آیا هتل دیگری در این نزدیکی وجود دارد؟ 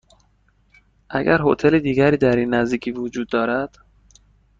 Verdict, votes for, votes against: rejected, 1, 2